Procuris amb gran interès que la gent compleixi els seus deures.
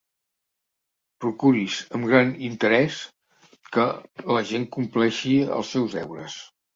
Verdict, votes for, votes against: accepted, 2, 0